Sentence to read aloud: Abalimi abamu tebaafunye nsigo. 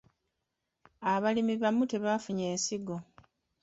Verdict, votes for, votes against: rejected, 1, 2